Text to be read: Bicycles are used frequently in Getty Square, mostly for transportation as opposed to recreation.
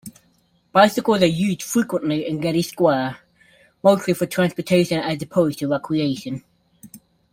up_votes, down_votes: 2, 0